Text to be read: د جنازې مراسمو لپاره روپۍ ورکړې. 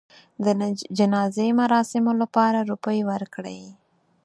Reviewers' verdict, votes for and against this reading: accepted, 4, 0